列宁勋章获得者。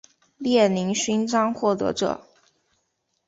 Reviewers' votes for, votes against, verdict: 2, 0, accepted